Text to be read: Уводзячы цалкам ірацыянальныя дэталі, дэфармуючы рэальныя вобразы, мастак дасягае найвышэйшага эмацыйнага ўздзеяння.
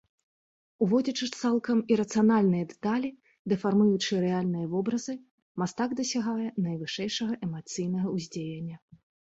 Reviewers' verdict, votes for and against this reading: accepted, 2, 0